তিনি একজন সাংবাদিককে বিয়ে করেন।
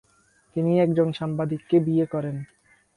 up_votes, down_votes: 2, 0